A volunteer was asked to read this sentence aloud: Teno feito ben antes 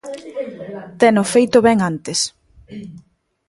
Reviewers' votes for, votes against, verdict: 2, 0, accepted